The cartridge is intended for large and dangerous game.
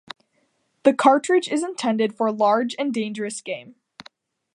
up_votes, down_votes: 2, 0